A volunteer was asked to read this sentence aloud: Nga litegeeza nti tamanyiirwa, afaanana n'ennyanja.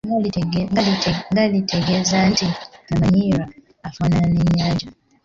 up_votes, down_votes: 0, 2